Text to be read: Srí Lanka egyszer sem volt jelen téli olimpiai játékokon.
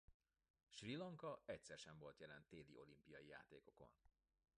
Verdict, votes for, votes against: rejected, 1, 2